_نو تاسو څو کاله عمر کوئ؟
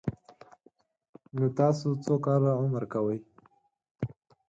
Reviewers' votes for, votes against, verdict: 4, 0, accepted